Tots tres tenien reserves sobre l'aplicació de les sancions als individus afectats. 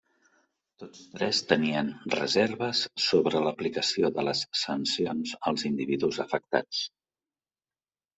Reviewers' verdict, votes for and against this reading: rejected, 1, 2